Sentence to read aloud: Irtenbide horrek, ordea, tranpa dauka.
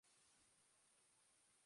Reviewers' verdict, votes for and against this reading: rejected, 0, 2